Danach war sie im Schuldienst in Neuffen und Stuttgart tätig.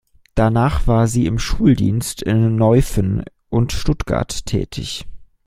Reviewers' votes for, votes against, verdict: 2, 0, accepted